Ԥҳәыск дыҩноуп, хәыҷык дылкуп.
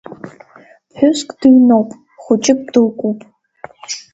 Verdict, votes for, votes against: accepted, 2, 0